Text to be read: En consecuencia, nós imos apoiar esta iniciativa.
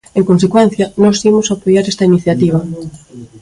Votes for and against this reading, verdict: 2, 0, accepted